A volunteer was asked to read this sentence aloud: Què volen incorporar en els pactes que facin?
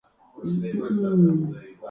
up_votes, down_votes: 0, 2